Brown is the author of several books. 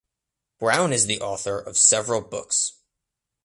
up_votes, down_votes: 2, 0